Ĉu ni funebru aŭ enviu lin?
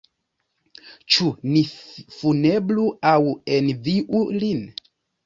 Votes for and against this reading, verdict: 1, 2, rejected